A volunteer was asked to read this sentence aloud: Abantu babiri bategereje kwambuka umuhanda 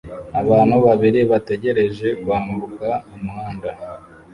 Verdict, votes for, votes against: rejected, 1, 2